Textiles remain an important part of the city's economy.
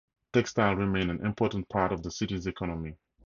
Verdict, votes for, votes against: accepted, 2, 0